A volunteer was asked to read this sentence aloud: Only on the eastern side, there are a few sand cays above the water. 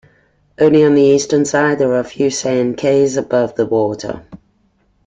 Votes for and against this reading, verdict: 2, 1, accepted